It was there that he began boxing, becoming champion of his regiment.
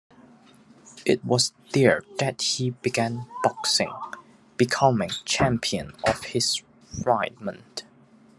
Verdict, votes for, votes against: rejected, 0, 2